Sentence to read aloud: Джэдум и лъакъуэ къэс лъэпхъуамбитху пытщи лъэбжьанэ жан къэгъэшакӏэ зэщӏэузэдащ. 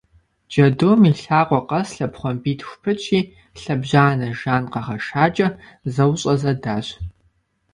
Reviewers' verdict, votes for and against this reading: rejected, 1, 2